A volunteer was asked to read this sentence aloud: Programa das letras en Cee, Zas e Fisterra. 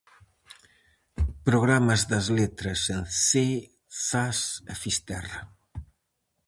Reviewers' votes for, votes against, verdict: 0, 4, rejected